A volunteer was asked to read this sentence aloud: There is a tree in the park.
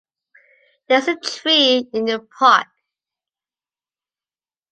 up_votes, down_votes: 2, 1